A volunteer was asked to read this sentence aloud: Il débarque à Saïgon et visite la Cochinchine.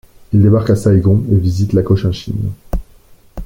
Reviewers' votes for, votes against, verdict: 2, 0, accepted